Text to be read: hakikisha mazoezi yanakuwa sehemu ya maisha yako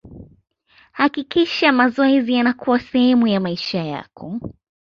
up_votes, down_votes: 2, 0